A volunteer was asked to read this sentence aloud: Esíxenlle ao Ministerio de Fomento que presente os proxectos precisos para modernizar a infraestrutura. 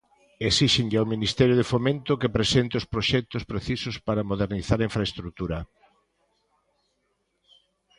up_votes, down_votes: 2, 0